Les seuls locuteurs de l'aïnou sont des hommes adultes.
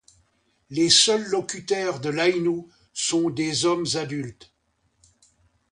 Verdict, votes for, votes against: rejected, 0, 2